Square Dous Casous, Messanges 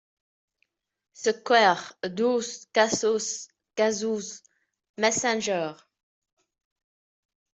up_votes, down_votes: 0, 2